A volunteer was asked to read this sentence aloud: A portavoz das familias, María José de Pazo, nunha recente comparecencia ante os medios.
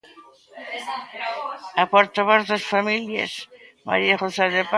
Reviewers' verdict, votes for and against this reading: rejected, 0, 3